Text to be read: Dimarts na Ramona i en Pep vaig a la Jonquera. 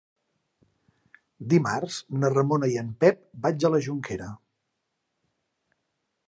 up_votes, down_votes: 2, 0